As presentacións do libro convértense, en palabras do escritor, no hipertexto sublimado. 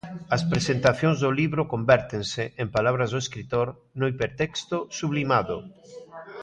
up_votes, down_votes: 2, 0